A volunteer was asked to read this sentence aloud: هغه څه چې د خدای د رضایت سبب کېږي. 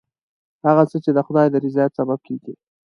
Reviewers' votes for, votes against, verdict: 2, 0, accepted